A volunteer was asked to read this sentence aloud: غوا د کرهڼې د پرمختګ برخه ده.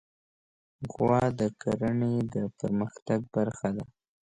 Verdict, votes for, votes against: accepted, 2, 0